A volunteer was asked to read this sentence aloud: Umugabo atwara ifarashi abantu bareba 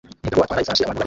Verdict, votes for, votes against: rejected, 0, 2